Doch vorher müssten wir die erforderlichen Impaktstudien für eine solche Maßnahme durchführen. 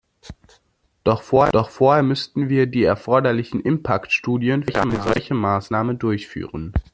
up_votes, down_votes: 0, 2